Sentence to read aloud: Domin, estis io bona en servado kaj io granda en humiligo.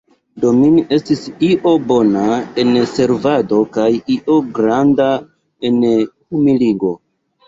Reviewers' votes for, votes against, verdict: 1, 3, rejected